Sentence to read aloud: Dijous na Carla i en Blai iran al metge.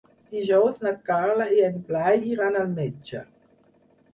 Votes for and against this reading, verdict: 6, 0, accepted